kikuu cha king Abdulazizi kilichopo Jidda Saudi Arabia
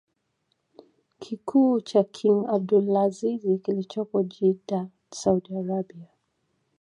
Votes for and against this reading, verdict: 2, 1, accepted